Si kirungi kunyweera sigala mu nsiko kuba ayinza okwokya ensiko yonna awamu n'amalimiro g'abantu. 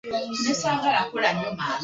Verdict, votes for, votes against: rejected, 0, 2